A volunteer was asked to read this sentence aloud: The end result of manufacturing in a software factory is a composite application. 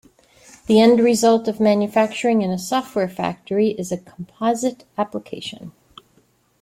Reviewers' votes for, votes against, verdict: 2, 0, accepted